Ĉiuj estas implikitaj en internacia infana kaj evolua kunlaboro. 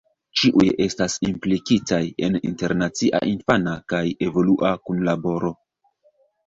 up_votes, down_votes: 2, 1